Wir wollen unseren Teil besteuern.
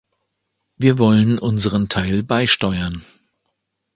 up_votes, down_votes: 1, 2